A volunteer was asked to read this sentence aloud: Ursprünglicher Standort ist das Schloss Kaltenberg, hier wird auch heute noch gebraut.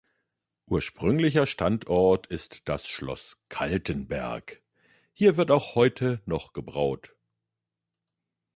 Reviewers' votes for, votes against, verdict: 2, 0, accepted